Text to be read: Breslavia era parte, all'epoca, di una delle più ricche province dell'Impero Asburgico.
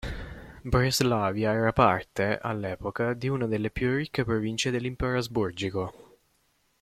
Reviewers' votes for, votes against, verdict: 2, 0, accepted